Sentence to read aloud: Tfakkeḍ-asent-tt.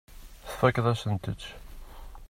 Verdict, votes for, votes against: accepted, 2, 0